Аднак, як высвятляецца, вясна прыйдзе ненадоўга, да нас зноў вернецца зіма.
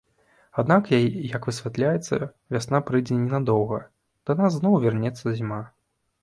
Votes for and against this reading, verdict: 1, 2, rejected